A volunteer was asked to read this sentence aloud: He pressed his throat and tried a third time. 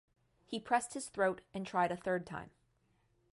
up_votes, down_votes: 2, 0